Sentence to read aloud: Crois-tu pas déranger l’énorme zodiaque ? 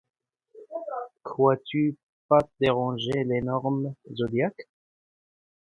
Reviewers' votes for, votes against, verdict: 1, 2, rejected